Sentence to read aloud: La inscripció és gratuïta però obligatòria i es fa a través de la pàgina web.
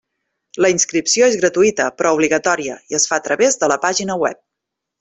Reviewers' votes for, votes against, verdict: 3, 0, accepted